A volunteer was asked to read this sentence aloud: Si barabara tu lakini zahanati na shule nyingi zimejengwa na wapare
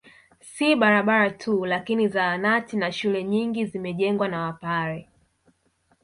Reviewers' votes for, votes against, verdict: 3, 0, accepted